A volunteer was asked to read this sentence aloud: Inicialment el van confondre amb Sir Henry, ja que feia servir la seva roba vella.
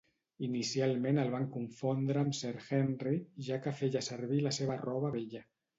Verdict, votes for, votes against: rejected, 0, 2